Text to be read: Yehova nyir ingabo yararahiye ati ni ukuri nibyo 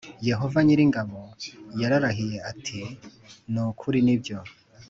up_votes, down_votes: 3, 0